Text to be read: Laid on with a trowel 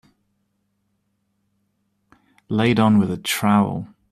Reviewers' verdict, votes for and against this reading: accepted, 2, 0